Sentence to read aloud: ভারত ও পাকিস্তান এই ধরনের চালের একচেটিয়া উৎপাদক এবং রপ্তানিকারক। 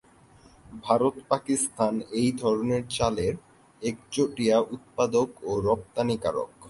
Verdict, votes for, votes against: rejected, 0, 2